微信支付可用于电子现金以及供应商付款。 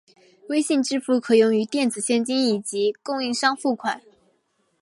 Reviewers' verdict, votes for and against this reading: accepted, 2, 0